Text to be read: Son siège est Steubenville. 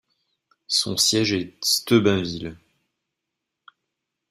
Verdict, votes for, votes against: rejected, 0, 2